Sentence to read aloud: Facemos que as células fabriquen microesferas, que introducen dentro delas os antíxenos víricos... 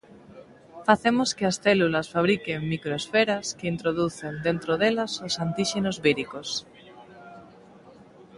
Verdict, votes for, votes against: accepted, 2, 1